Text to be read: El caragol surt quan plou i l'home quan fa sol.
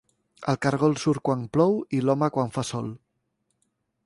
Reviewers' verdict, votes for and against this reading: accepted, 2, 1